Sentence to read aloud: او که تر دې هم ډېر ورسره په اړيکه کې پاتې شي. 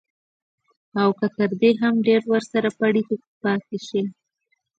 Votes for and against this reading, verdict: 0, 2, rejected